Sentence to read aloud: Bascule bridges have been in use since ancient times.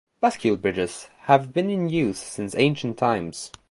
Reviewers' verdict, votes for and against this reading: accepted, 2, 0